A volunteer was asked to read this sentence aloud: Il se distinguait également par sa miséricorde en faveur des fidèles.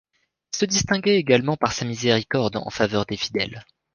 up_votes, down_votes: 0, 3